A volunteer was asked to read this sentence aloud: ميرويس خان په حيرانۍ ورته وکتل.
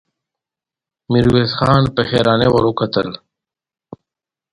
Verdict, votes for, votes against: accepted, 2, 0